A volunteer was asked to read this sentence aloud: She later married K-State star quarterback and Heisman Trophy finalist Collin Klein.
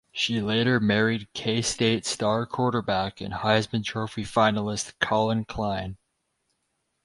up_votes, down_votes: 4, 0